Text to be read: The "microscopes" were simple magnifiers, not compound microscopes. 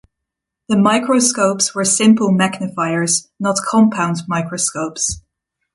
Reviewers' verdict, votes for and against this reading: rejected, 1, 2